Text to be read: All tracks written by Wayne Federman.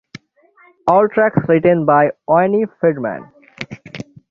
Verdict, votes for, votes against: rejected, 0, 6